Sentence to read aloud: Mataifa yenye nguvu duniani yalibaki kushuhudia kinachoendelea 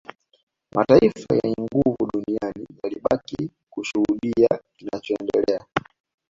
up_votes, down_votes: 2, 0